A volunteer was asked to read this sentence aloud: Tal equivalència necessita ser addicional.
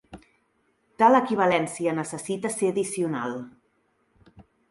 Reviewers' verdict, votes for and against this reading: accepted, 3, 1